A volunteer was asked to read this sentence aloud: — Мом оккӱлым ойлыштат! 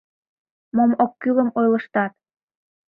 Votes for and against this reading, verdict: 1, 2, rejected